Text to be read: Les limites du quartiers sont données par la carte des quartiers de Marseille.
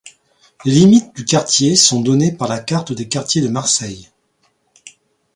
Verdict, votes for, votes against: rejected, 1, 2